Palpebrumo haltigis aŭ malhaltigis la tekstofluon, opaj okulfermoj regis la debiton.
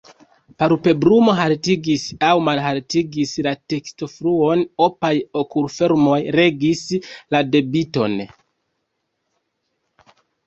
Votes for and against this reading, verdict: 1, 2, rejected